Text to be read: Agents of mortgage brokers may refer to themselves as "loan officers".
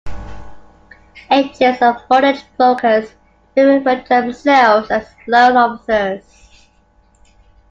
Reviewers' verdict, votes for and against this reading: accepted, 2, 1